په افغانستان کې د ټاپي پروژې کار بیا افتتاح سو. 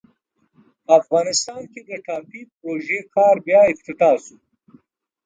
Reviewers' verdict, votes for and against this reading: accepted, 2, 0